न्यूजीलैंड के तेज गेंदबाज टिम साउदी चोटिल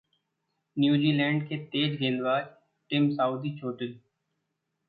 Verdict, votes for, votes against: accepted, 2, 0